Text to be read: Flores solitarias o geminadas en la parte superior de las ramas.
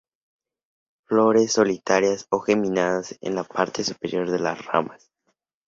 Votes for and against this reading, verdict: 4, 0, accepted